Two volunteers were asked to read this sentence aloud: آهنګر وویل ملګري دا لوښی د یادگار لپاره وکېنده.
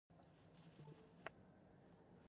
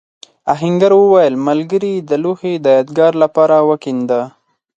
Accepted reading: second